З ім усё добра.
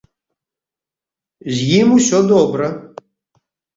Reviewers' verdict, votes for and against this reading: accepted, 2, 0